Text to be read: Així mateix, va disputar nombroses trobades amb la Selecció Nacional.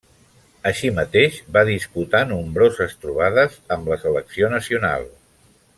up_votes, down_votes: 0, 2